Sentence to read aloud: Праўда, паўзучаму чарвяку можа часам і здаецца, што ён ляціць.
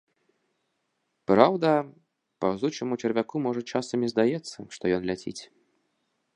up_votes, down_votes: 2, 0